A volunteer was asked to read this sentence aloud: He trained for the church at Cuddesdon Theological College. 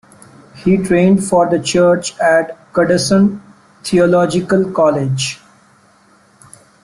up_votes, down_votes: 1, 2